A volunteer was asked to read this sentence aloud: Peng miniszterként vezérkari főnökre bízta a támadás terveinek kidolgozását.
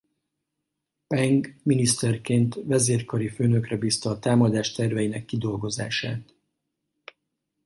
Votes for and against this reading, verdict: 4, 0, accepted